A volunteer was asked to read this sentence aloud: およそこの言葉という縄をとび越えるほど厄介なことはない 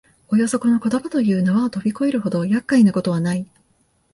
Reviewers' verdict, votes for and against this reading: accepted, 2, 0